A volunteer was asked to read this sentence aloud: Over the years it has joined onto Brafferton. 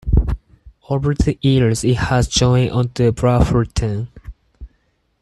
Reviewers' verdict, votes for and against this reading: rejected, 2, 4